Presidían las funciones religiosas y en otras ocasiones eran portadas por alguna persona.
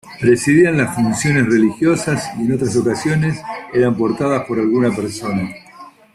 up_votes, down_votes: 2, 0